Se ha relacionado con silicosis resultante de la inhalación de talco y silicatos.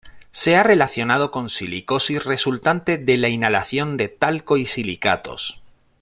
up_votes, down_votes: 3, 0